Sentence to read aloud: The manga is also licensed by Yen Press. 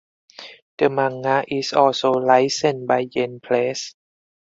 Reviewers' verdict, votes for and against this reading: rejected, 2, 4